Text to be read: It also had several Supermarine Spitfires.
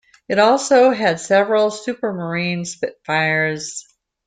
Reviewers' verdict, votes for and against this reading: accepted, 2, 0